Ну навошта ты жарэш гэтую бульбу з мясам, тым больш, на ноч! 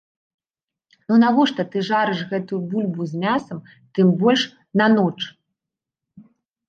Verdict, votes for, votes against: rejected, 0, 2